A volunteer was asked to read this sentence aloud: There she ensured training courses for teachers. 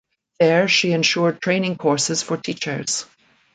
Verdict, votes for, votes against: accepted, 2, 0